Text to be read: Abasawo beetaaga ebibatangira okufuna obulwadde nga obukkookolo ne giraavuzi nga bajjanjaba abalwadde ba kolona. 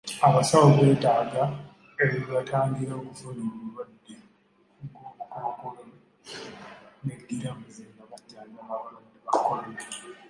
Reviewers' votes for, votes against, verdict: 1, 2, rejected